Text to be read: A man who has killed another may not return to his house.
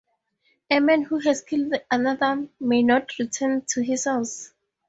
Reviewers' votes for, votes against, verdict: 2, 0, accepted